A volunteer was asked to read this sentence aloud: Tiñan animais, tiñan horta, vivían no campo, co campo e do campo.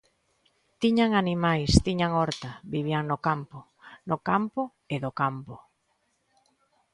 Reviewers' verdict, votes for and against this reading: rejected, 1, 2